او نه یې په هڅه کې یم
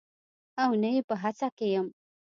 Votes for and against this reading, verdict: 2, 0, accepted